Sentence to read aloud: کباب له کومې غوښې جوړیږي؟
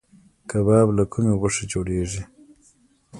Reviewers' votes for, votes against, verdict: 2, 0, accepted